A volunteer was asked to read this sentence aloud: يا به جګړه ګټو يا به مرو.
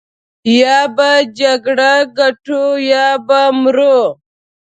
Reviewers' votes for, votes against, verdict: 0, 2, rejected